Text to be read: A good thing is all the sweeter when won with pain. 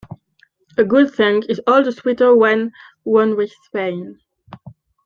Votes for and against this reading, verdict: 1, 2, rejected